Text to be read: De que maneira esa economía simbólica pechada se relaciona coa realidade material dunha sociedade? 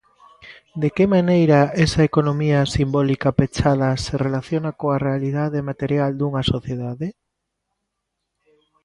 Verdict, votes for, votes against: accepted, 2, 0